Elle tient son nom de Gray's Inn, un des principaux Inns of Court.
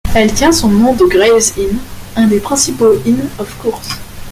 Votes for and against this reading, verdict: 2, 1, accepted